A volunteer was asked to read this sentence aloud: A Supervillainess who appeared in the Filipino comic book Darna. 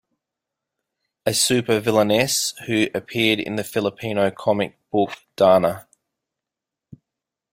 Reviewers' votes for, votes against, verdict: 2, 0, accepted